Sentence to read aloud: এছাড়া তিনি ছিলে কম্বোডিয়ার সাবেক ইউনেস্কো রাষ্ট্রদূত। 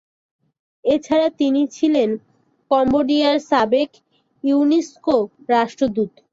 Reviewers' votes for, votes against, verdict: 4, 3, accepted